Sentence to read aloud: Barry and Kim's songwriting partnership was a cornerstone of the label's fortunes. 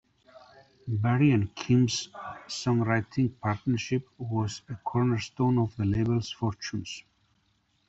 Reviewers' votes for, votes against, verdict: 2, 0, accepted